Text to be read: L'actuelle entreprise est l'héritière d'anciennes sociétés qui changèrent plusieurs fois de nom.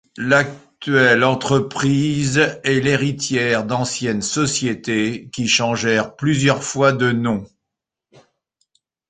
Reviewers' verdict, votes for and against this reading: accepted, 2, 0